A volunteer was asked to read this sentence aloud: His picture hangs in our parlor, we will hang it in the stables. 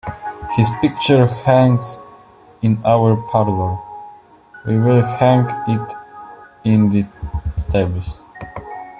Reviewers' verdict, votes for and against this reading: accepted, 2, 1